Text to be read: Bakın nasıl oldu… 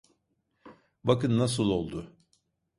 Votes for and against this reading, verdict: 2, 0, accepted